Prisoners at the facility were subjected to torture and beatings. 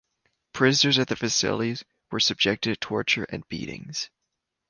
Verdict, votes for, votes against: rejected, 1, 2